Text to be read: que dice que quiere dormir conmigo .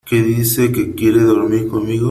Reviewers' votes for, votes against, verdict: 3, 0, accepted